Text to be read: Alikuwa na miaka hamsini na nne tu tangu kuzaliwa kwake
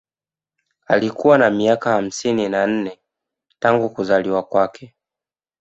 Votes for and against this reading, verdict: 1, 2, rejected